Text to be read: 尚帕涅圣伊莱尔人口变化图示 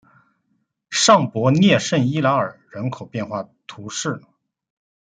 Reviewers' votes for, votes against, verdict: 2, 1, accepted